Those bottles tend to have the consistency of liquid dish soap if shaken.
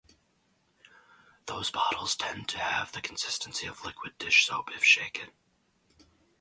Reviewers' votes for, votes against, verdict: 2, 2, rejected